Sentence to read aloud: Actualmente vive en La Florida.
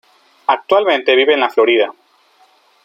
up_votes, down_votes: 3, 0